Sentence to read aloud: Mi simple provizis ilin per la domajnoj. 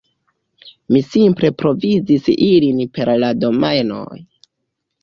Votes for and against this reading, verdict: 1, 2, rejected